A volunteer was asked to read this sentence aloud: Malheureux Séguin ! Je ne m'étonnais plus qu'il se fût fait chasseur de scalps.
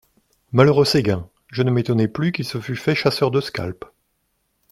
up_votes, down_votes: 2, 0